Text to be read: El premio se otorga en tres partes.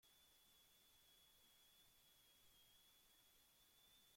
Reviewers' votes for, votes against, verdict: 0, 2, rejected